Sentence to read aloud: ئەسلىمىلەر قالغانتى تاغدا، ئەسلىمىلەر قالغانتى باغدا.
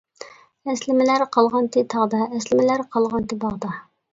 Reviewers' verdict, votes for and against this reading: accepted, 2, 0